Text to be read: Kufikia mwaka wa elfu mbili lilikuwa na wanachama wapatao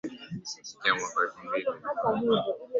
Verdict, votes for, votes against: rejected, 0, 3